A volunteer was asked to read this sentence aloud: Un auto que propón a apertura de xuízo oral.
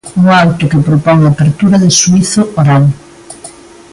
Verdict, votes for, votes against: accepted, 2, 0